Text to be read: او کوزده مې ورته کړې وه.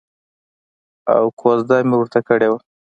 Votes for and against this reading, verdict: 2, 1, accepted